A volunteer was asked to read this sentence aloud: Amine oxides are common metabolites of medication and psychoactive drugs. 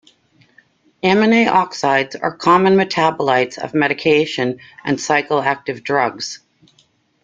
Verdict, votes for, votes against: rejected, 1, 2